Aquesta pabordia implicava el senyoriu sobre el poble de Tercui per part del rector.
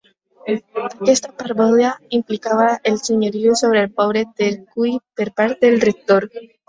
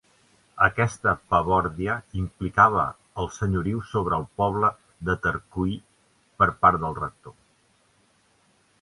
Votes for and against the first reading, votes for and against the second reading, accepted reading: 0, 2, 2, 0, second